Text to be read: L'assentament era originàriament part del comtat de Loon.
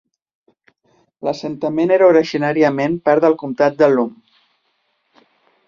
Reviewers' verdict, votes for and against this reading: accepted, 2, 0